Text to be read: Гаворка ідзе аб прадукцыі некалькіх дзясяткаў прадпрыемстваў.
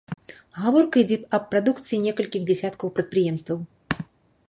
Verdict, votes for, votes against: accepted, 2, 0